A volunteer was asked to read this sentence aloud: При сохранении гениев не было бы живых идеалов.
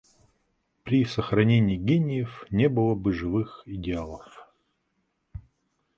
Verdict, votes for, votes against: accepted, 2, 0